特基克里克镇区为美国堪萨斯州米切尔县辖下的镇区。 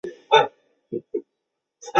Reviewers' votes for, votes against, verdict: 0, 5, rejected